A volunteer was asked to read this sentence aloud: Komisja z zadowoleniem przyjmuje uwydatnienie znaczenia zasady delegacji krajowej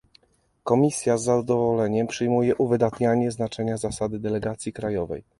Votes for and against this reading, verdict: 1, 2, rejected